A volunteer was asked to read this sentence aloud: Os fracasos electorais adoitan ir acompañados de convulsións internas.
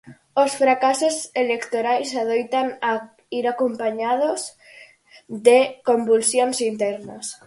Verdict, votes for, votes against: rejected, 0, 4